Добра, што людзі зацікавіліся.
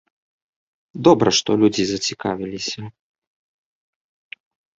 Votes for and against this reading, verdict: 2, 0, accepted